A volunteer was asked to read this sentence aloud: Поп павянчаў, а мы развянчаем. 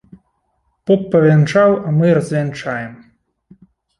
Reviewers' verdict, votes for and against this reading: accepted, 2, 0